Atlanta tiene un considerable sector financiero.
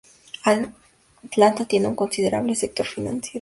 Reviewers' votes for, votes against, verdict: 2, 0, accepted